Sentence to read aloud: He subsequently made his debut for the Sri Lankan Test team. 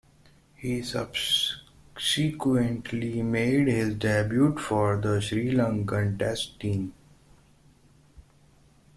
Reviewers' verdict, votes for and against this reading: rejected, 0, 2